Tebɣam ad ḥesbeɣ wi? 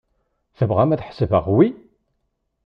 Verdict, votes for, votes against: accepted, 2, 0